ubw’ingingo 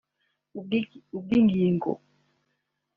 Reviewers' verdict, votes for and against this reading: rejected, 1, 3